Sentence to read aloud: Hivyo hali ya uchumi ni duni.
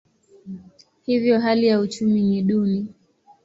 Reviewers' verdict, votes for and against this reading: accepted, 2, 0